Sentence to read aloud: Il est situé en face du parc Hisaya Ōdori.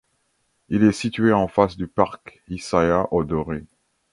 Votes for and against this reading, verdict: 2, 1, accepted